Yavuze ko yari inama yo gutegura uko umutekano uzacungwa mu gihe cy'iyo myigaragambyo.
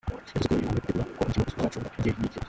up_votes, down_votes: 0, 2